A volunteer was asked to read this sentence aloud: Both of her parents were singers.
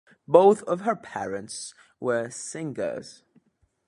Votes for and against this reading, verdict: 1, 2, rejected